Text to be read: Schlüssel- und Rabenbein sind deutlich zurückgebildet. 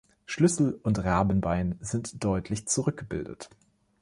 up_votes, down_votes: 3, 0